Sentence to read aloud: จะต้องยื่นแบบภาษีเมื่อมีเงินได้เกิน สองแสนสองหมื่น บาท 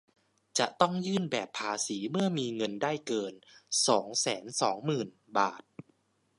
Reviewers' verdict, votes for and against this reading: accepted, 2, 0